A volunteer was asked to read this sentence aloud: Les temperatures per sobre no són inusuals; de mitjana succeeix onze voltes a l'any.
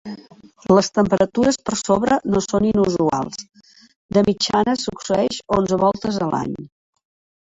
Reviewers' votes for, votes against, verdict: 4, 2, accepted